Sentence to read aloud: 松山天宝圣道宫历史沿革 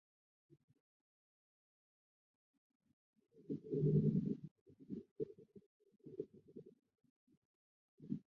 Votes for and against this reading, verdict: 3, 1, accepted